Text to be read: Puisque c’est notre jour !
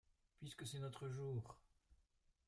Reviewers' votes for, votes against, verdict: 0, 2, rejected